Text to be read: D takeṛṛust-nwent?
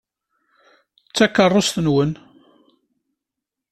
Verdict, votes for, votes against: accepted, 2, 1